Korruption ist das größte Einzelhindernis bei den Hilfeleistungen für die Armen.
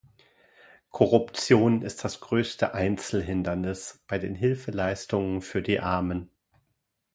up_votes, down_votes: 2, 0